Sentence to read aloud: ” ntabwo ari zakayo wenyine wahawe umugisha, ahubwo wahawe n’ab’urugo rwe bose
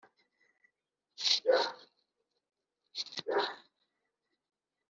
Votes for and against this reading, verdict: 1, 2, rejected